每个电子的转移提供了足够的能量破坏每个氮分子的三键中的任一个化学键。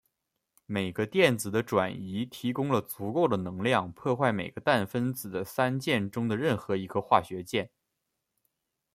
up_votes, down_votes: 0, 2